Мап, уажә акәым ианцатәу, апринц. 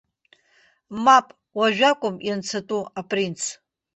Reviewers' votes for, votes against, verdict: 2, 0, accepted